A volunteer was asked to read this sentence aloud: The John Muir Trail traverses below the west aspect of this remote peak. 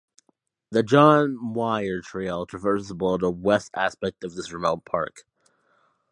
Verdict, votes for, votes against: rejected, 0, 2